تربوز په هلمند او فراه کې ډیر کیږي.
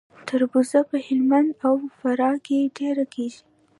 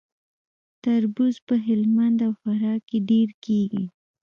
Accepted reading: first